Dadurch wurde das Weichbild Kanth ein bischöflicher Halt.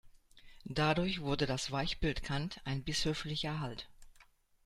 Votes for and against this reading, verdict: 1, 2, rejected